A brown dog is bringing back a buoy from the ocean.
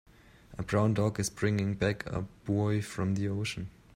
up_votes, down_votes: 0, 2